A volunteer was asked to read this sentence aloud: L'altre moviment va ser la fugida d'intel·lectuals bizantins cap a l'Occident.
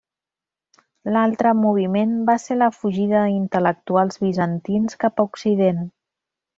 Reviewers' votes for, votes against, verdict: 0, 2, rejected